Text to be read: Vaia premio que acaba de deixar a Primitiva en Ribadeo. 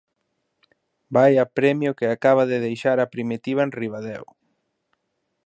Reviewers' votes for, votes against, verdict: 2, 0, accepted